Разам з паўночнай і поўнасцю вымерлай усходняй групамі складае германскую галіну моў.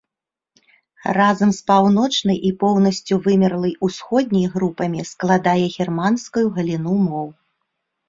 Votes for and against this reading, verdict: 1, 2, rejected